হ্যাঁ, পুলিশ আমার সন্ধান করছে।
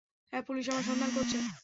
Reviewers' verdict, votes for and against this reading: rejected, 0, 2